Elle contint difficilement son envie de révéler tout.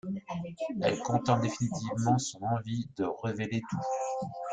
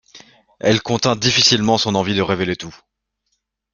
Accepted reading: second